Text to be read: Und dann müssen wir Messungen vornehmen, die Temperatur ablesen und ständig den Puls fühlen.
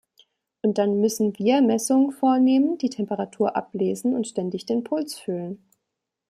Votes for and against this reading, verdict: 2, 0, accepted